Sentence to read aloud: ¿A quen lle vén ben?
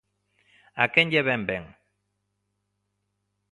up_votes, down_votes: 2, 0